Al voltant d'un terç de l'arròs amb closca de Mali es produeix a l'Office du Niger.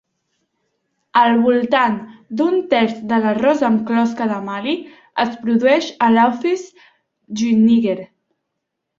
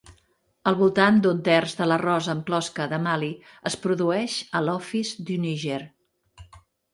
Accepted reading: second